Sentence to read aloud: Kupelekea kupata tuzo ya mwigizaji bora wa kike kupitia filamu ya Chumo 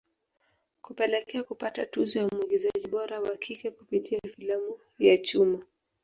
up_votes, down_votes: 2, 0